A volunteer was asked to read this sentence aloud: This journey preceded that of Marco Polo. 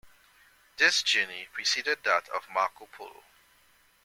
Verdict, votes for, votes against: accepted, 2, 0